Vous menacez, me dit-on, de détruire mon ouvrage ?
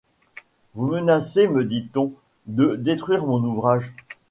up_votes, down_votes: 2, 1